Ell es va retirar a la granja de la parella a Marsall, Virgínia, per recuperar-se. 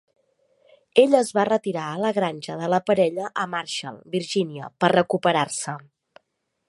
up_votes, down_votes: 2, 0